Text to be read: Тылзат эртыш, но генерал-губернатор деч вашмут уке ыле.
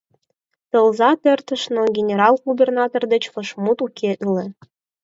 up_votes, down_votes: 0, 4